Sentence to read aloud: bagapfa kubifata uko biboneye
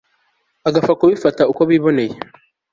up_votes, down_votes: 2, 0